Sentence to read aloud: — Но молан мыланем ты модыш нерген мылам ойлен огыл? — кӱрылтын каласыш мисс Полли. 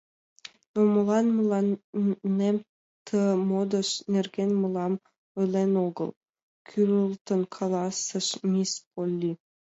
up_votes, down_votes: 0, 2